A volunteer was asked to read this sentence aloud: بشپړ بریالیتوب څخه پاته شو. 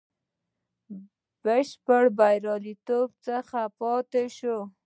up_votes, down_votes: 3, 0